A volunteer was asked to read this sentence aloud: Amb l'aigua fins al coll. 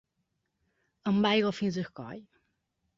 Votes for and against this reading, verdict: 2, 1, accepted